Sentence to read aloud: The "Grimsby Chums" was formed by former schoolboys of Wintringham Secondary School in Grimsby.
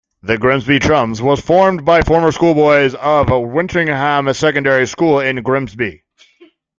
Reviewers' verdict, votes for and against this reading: accepted, 2, 0